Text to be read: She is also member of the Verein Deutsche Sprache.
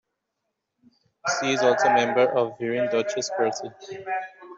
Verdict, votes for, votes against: rejected, 0, 2